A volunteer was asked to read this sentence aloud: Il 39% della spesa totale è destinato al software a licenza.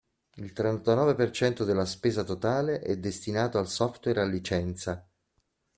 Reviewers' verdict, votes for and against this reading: rejected, 0, 2